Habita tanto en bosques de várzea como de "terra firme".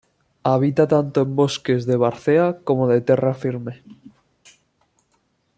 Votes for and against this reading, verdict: 2, 0, accepted